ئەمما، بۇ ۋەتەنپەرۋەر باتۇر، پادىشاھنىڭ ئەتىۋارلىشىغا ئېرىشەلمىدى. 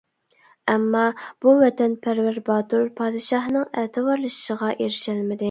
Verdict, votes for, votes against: rejected, 0, 2